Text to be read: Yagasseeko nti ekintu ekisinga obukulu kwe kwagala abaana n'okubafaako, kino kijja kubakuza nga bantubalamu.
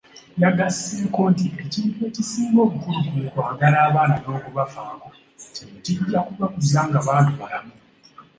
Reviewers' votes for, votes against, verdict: 2, 0, accepted